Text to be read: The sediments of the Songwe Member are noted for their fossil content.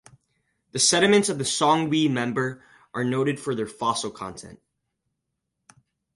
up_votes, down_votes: 4, 0